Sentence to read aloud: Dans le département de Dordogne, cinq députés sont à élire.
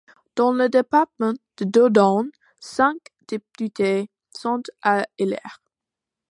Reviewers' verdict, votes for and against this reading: accepted, 2, 1